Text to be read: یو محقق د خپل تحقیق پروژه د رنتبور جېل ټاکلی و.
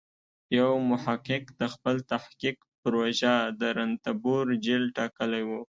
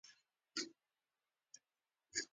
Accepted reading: first